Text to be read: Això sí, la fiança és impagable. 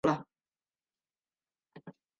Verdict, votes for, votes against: rejected, 1, 2